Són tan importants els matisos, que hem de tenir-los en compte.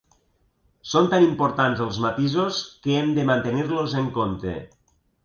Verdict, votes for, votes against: rejected, 0, 2